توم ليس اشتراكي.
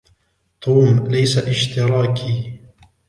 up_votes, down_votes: 2, 0